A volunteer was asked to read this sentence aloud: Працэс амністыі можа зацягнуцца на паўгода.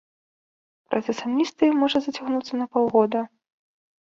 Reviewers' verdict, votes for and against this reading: accepted, 2, 0